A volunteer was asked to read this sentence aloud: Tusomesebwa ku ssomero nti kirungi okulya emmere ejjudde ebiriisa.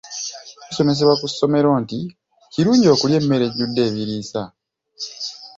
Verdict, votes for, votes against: accepted, 2, 1